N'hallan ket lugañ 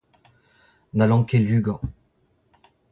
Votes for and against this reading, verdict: 0, 2, rejected